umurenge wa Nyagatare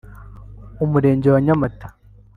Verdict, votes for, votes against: rejected, 1, 2